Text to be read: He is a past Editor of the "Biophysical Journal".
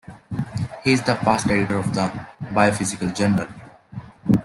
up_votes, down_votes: 2, 0